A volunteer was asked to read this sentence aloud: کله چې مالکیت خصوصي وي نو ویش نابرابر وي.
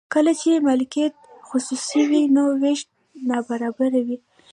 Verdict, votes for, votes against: rejected, 0, 2